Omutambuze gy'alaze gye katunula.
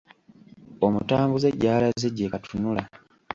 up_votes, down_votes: 1, 2